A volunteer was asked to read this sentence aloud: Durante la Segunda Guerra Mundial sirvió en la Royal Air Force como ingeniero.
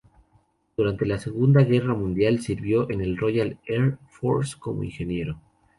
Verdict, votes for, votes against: rejected, 0, 2